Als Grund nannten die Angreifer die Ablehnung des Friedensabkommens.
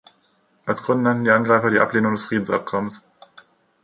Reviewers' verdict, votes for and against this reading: rejected, 1, 2